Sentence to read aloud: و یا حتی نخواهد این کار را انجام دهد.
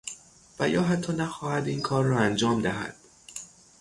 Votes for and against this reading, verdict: 3, 3, rejected